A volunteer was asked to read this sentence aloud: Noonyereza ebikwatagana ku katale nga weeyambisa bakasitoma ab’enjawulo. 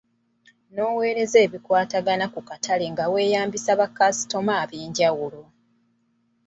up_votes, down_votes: 1, 2